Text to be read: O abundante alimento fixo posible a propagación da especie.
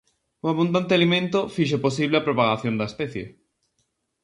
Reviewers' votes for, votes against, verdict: 2, 0, accepted